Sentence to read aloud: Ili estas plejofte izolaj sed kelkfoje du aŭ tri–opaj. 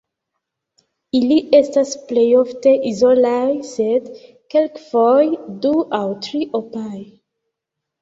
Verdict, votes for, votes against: rejected, 1, 2